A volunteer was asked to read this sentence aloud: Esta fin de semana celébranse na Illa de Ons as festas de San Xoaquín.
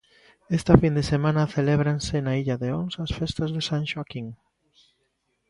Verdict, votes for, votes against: accepted, 2, 0